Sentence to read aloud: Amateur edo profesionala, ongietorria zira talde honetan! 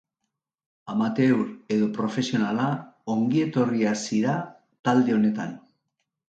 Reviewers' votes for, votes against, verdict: 2, 0, accepted